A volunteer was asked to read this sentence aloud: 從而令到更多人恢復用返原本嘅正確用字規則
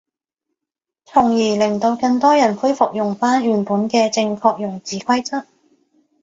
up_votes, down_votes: 2, 0